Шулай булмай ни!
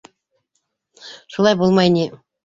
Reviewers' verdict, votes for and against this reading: accepted, 2, 0